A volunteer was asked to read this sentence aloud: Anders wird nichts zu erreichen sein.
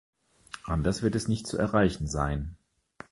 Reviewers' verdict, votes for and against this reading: accepted, 2, 1